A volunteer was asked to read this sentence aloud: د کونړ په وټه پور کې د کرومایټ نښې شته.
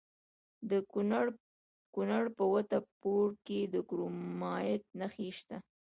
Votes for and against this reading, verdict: 2, 0, accepted